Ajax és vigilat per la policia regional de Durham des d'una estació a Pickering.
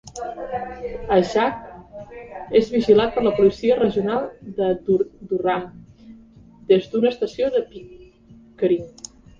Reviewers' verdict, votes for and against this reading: rejected, 0, 2